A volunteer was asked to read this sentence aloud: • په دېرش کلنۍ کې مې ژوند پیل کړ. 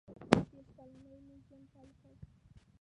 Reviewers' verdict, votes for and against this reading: rejected, 0, 2